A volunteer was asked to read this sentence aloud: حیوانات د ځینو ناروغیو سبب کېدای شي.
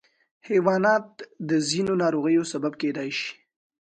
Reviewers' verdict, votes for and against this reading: accepted, 2, 0